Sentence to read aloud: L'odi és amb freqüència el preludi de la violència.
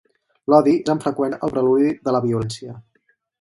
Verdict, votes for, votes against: rejected, 2, 4